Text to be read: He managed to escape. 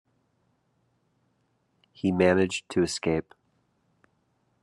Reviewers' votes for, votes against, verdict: 2, 0, accepted